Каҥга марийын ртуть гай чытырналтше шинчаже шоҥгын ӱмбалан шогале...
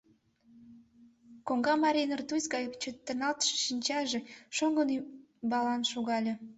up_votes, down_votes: 0, 2